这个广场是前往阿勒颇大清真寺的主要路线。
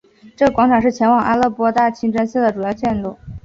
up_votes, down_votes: 2, 0